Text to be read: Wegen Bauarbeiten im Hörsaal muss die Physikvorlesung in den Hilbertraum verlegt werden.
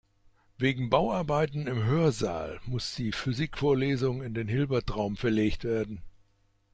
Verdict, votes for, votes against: accepted, 2, 0